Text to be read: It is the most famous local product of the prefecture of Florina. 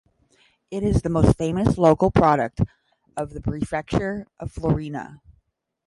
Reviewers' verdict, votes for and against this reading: accepted, 10, 0